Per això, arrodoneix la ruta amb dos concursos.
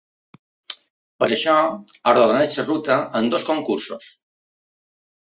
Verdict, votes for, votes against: accepted, 2, 1